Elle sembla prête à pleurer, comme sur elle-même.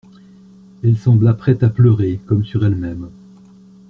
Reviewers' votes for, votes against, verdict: 2, 0, accepted